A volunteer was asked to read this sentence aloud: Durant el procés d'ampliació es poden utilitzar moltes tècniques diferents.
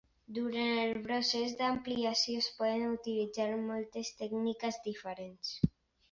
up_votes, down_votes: 1, 2